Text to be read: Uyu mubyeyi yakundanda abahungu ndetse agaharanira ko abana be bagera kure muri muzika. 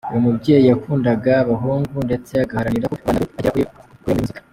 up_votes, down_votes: 0, 2